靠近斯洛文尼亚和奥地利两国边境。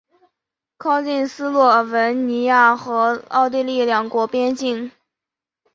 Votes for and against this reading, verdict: 3, 0, accepted